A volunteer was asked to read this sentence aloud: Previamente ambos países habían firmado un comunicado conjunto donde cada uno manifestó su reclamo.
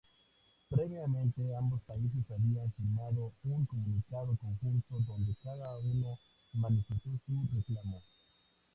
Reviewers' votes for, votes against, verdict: 2, 0, accepted